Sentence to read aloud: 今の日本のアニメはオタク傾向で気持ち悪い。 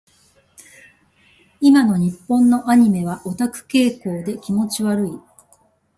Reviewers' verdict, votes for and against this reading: accepted, 2, 0